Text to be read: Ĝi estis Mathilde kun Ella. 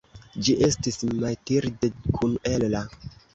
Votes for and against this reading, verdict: 2, 0, accepted